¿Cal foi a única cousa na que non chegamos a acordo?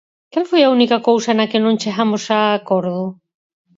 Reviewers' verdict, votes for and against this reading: accepted, 4, 0